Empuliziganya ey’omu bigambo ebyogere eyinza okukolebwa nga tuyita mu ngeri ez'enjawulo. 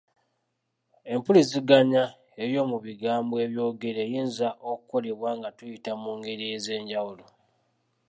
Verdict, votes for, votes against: accepted, 2, 0